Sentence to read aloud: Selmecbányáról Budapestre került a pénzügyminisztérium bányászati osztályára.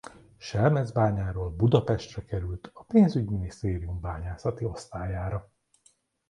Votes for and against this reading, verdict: 2, 0, accepted